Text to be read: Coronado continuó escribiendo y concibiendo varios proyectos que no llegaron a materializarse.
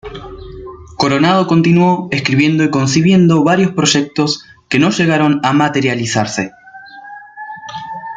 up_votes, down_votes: 2, 1